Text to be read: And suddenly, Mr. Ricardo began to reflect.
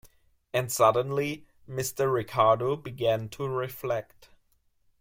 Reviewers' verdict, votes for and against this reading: accepted, 2, 0